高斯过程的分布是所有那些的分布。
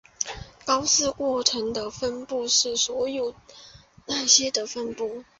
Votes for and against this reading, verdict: 2, 0, accepted